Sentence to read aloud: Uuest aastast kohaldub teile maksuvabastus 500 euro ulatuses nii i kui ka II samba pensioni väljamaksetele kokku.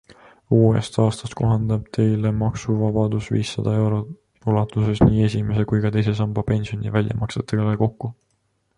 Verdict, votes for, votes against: rejected, 0, 2